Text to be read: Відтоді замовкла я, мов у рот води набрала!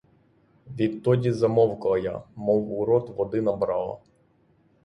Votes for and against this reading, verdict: 6, 0, accepted